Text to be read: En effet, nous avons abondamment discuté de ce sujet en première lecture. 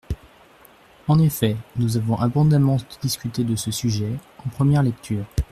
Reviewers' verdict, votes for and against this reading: rejected, 0, 2